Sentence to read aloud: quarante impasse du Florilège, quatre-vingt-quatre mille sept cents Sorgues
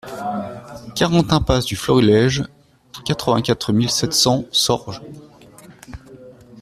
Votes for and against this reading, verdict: 0, 2, rejected